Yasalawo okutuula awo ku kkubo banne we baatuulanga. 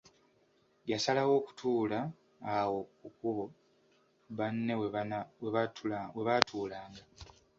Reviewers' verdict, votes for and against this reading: rejected, 0, 2